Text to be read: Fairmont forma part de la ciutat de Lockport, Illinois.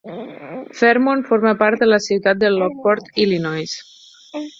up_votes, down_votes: 4, 0